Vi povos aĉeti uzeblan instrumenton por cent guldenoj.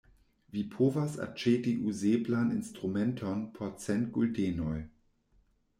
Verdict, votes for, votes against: rejected, 1, 2